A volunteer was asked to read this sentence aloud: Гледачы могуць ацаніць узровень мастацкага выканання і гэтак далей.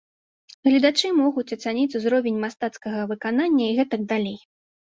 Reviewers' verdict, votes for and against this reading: accepted, 2, 0